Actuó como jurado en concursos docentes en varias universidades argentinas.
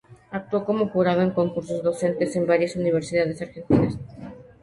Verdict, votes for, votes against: accepted, 2, 0